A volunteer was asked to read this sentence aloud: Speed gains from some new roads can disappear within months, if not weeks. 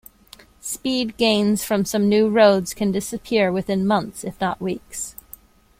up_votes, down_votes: 2, 0